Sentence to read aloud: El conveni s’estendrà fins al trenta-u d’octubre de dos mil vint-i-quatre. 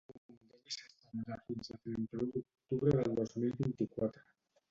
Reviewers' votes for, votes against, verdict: 0, 2, rejected